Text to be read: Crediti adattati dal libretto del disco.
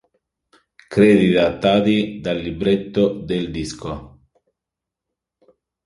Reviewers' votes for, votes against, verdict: 1, 2, rejected